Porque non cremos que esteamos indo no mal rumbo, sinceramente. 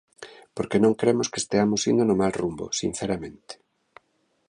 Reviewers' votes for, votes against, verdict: 2, 0, accepted